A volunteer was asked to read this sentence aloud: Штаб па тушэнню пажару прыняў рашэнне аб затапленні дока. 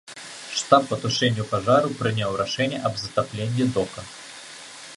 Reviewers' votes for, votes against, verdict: 2, 0, accepted